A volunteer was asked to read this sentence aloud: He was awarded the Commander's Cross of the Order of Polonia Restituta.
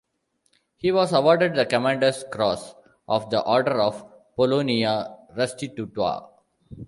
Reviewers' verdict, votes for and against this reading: accepted, 2, 0